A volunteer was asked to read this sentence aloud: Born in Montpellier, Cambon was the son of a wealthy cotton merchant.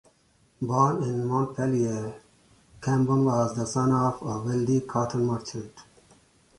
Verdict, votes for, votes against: accepted, 2, 0